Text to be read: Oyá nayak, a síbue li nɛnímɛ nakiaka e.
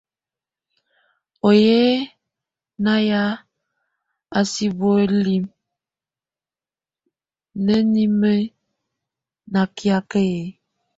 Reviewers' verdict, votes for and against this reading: rejected, 0, 2